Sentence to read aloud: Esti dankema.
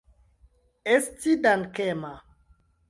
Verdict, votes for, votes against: accepted, 2, 0